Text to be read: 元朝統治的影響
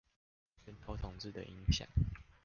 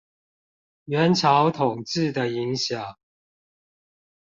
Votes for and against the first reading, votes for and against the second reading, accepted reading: 0, 2, 2, 0, second